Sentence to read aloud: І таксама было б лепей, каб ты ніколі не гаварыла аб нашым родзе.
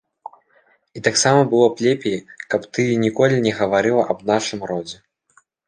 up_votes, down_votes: 1, 2